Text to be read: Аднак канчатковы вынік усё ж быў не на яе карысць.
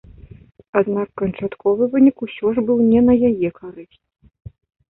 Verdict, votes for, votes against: accepted, 2, 0